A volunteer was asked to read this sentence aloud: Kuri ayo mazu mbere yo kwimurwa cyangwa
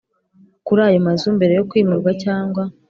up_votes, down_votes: 3, 0